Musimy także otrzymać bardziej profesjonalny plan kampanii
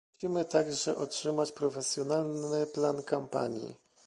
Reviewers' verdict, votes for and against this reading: accepted, 2, 0